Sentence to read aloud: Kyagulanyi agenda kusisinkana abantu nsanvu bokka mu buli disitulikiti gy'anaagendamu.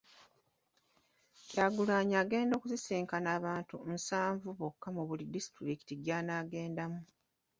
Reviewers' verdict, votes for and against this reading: accepted, 2, 0